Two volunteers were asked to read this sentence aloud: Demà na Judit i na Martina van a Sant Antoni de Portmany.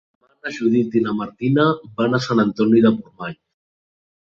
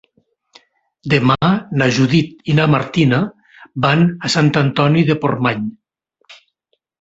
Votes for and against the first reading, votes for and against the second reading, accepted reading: 1, 2, 3, 0, second